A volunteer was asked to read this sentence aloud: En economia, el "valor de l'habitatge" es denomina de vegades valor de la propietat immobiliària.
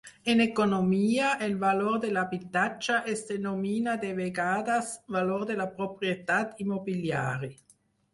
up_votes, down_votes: 2, 4